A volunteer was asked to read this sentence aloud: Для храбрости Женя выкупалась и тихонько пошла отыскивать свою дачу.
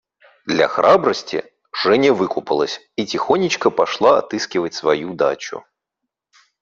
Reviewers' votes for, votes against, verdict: 0, 2, rejected